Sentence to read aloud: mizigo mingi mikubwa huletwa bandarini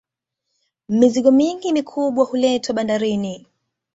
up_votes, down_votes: 2, 0